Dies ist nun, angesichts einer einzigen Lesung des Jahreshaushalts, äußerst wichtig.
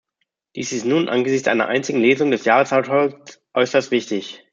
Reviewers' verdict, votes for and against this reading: rejected, 1, 2